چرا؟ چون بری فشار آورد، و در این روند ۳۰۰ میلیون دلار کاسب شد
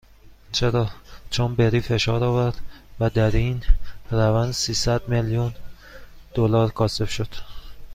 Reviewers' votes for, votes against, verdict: 0, 2, rejected